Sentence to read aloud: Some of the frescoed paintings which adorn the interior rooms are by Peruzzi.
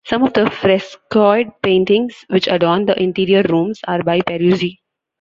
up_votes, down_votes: 0, 2